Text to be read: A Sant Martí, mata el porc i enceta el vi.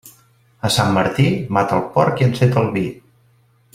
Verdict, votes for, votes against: accepted, 3, 0